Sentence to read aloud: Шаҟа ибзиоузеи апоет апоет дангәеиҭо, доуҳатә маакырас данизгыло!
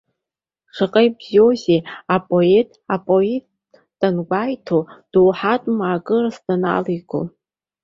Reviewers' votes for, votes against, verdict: 0, 2, rejected